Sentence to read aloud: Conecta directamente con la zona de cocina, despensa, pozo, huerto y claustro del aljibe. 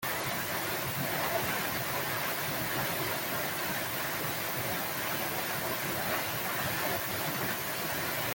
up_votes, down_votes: 0, 2